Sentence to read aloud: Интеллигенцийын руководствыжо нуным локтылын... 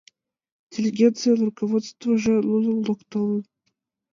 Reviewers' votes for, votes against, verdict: 0, 2, rejected